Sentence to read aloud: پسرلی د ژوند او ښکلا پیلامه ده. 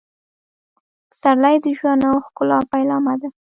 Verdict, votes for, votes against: accepted, 3, 0